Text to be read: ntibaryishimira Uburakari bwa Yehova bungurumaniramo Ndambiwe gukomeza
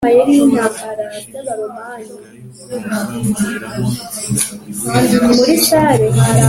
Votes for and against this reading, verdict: 0, 2, rejected